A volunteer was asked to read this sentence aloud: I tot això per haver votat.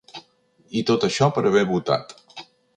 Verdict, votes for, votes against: accepted, 2, 0